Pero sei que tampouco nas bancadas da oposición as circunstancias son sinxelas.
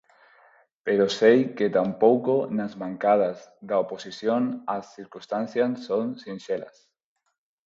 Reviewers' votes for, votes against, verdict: 2, 2, rejected